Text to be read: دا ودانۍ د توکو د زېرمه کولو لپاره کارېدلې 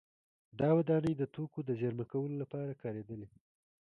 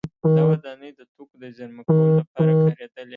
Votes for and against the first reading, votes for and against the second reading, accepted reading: 2, 0, 0, 2, first